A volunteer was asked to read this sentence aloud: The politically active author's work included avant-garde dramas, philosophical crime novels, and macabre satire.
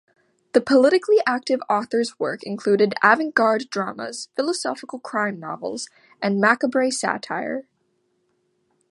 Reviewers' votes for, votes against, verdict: 2, 0, accepted